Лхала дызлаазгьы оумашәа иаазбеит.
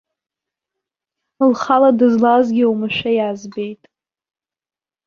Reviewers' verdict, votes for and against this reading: accepted, 2, 0